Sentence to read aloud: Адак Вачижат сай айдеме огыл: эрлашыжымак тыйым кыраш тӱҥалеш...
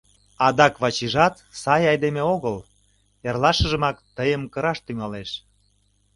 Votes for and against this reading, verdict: 2, 0, accepted